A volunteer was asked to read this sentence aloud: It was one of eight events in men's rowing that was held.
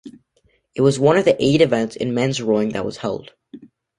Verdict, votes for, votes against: rejected, 1, 3